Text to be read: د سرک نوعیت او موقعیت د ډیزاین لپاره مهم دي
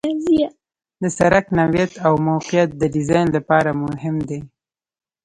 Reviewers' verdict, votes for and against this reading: rejected, 1, 2